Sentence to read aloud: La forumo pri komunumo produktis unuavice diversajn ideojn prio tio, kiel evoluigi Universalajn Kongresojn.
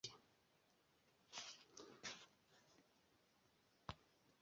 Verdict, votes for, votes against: rejected, 1, 2